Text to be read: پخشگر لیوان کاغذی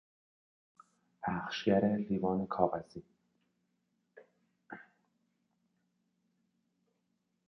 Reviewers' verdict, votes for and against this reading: rejected, 1, 2